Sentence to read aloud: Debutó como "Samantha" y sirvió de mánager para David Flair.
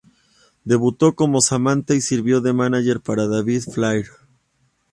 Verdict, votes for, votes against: accepted, 2, 0